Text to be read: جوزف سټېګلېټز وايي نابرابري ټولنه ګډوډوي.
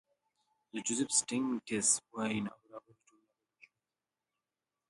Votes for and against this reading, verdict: 0, 2, rejected